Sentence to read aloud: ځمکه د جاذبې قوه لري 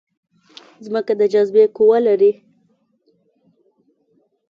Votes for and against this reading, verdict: 2, 0, accepted